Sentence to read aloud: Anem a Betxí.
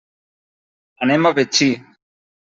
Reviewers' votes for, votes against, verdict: 3, 0, accepted